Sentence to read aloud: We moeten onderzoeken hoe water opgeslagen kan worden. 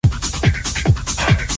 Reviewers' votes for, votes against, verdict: 0, 2, rejected